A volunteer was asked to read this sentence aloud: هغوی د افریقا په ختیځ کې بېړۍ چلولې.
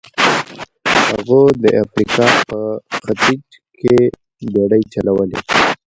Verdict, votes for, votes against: rejected, 1, 2